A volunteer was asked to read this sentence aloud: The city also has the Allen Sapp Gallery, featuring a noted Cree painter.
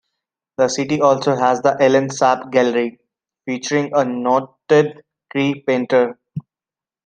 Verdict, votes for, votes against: accepted, 2, 0